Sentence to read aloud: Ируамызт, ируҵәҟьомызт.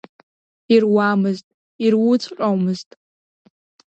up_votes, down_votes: 2, 0